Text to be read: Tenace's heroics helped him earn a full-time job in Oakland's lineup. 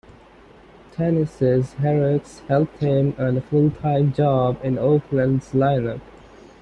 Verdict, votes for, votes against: accepted, 2, 0